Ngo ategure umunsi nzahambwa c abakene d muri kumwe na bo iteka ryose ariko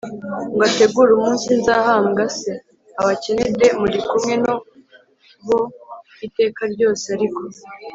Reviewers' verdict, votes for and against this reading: accepted, 2, 0